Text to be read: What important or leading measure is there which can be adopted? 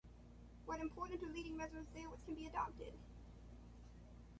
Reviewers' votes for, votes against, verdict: 0, 2, rejected